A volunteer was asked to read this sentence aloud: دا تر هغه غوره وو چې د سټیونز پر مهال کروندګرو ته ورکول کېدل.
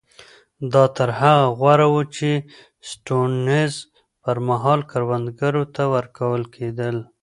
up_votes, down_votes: 2, 1